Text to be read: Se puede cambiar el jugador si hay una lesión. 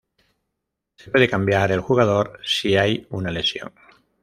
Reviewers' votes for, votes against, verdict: 0, 2, rejected